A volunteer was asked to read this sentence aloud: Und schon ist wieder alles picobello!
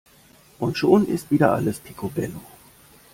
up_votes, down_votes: 2, 0